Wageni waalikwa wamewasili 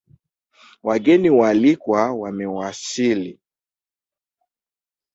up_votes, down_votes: 1, 2